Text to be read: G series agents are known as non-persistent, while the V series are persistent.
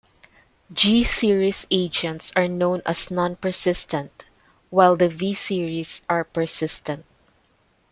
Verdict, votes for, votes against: accepted, 2, 0